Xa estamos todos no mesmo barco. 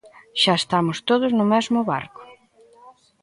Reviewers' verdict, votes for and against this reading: rejected, 1, 2